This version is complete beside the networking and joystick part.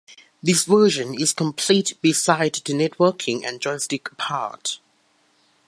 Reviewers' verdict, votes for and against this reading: accepted, 2, 1